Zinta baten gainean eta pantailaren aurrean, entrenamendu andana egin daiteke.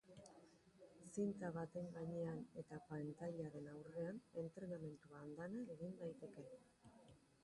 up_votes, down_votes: 0, 2